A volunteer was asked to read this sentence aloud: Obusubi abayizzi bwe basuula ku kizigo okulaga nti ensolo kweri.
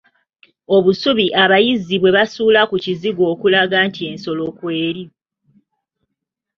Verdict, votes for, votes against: accepted, 2, 0